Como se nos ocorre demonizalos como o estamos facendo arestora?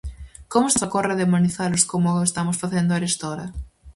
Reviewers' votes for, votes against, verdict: 0, 4, rejected